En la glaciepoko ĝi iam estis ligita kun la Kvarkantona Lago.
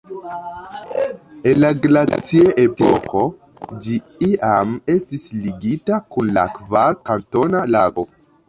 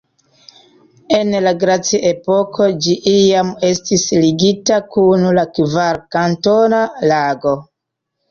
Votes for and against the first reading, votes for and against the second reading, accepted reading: 0, 2, 2, 0, second